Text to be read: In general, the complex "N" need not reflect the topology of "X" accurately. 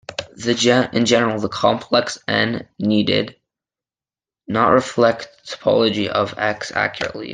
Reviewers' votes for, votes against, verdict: 0, 2, rejected